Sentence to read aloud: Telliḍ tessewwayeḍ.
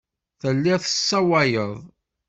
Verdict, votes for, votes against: rejected, 0, 2